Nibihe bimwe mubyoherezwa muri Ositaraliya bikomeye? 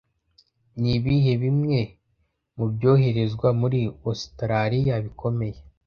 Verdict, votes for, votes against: accepted, 2, 0